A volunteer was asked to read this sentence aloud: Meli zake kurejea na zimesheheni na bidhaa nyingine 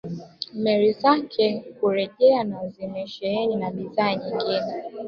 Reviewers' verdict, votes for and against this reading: accepted, 2, 1